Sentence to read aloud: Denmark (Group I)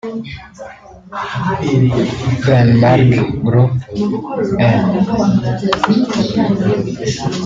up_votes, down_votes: 0, 2